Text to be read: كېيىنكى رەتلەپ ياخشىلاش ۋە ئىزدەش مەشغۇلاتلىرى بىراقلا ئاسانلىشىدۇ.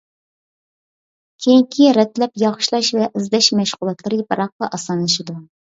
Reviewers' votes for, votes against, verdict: 2, 0, accepted